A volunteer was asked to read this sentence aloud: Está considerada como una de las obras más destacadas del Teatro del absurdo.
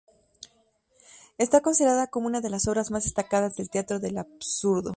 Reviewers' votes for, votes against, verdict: 2, 0, accepted